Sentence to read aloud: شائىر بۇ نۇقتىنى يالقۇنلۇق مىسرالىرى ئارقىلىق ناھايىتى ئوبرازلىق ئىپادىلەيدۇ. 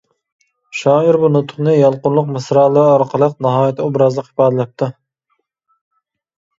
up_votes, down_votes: 0, 2